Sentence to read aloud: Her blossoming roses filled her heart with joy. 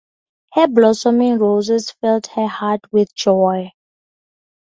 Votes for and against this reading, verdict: 2, 0, accepted